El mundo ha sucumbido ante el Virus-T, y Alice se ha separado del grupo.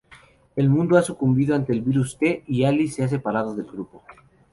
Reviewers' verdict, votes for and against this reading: accepted, 2, 0